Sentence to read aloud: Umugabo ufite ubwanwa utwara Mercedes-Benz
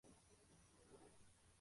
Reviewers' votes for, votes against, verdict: 0, 2, rejected